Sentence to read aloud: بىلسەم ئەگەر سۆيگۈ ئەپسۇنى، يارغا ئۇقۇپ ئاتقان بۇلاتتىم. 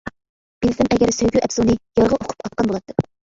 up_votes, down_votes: 1, 2